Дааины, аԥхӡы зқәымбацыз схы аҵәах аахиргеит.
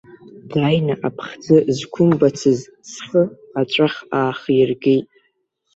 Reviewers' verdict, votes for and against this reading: rejected, 1, 2